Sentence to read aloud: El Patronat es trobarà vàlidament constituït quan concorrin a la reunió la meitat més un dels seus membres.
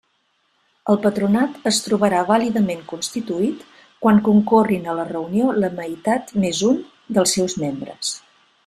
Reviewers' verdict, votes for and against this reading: accepted, 3, 0